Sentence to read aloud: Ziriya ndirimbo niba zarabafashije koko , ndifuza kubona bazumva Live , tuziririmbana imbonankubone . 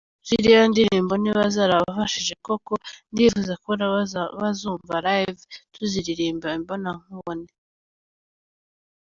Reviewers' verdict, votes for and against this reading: rejected, 1, 2